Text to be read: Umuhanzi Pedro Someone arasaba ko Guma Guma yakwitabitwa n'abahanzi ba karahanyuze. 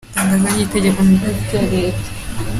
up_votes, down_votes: 0, 3